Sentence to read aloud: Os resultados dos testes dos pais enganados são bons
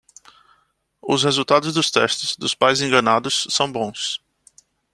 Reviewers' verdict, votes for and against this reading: accepted, 2, 0